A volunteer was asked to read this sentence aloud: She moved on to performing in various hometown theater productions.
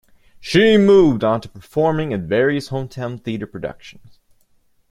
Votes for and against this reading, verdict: 2, 0, accepted